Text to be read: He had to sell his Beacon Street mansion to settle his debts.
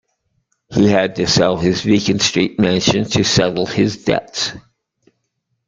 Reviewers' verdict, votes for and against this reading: accepted, 2, 0